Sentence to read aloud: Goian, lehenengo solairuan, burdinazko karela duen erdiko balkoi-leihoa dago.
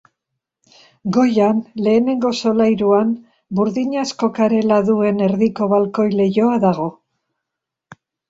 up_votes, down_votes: 3, 0